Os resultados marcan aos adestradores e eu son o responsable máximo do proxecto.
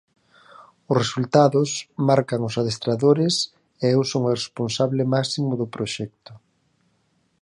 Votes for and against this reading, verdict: 4, 0, accepted